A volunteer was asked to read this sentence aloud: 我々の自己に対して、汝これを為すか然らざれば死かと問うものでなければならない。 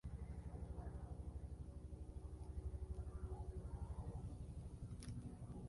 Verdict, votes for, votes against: rejected, 0, 2